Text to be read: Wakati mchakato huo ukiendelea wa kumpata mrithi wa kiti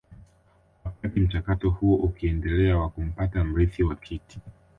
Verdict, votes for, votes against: rejected, 1, 2